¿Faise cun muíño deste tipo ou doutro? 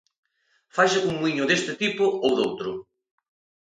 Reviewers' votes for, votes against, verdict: 2, 0, accepted